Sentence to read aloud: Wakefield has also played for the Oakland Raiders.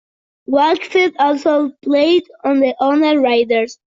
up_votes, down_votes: 0, 2